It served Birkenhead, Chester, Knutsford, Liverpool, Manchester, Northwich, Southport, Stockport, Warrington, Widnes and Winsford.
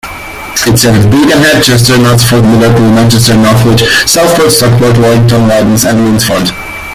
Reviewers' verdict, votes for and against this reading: rejected, 0, 2